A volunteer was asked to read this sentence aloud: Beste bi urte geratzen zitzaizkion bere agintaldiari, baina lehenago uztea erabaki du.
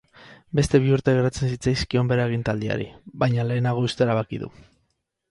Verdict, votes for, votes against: accepted, 4, 0